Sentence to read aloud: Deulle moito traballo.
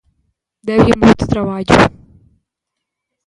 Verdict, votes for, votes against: rejected, 1, 2